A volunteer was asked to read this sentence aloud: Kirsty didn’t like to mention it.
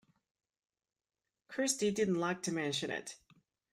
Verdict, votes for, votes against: rejected, 1, 2